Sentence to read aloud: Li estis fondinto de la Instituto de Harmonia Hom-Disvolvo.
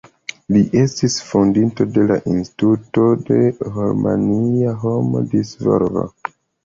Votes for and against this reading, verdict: 0, 2, rejected